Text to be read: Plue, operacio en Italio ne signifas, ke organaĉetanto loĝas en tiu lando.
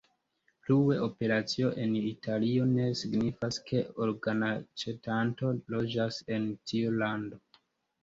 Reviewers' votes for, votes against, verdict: 2, 0, accepted